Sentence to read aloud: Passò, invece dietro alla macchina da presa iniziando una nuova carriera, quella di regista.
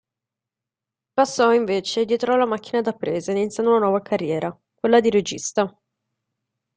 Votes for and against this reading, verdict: 2, 0, accepted